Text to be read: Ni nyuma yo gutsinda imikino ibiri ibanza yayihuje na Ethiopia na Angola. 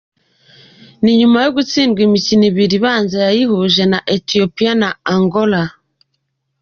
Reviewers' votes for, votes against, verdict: 2, 1, accepted